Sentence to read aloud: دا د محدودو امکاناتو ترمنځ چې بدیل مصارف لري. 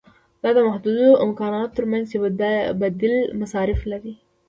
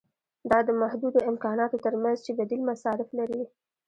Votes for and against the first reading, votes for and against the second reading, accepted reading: 1, 2, 2, 0, second